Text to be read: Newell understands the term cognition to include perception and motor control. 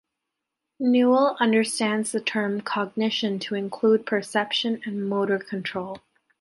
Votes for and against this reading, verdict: 2, 0, accepted